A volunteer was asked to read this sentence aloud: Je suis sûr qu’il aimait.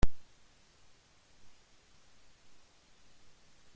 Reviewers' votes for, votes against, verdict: 0, 2, rejected